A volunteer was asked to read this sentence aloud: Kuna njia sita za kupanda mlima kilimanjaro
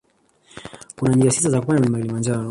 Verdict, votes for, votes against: rejected, 1, 2